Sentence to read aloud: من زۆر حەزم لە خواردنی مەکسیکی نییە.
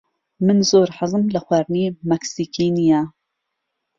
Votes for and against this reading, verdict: 2, 0, accepted